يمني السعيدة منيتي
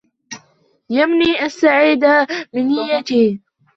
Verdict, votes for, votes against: rejected, 0, 2